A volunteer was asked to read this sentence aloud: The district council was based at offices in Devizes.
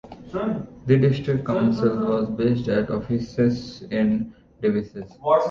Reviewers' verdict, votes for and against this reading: rejected, 1, 2